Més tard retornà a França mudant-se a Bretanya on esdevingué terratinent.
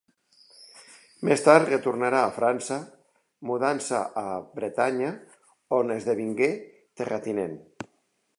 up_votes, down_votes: 0, 2